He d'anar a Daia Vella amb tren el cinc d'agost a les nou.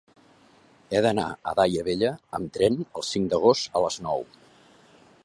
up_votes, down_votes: 3, 1